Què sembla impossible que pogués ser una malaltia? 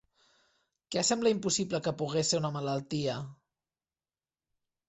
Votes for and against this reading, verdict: 2, 0, accepted